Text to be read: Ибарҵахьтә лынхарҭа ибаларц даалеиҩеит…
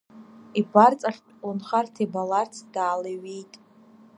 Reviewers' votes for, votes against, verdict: 1, 2, rejected